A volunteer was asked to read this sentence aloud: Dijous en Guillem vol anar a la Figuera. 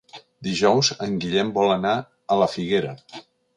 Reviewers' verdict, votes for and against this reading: accepted, 3, 0